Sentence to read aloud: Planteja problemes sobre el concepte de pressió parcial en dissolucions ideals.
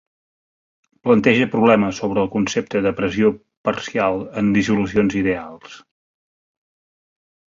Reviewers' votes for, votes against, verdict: 5, 0, accepted